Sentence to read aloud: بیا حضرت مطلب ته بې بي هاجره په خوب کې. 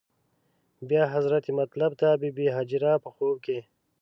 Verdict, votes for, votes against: accepted, 2, 0